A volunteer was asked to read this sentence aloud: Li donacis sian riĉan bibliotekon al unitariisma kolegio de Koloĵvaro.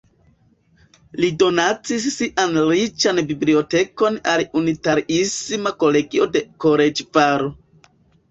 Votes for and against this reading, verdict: 1, 2, rejected